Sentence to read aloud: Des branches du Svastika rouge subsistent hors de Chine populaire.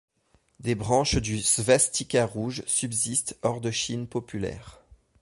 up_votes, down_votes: 2, 0